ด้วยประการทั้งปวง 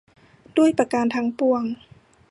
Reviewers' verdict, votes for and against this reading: accepted, 2, 0